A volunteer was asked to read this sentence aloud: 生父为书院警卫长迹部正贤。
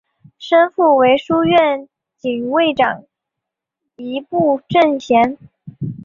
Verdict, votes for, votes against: accepted, 2, 0